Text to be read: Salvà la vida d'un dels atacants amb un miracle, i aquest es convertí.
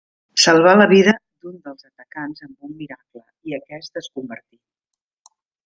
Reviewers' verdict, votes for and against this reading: rejected, 1, 2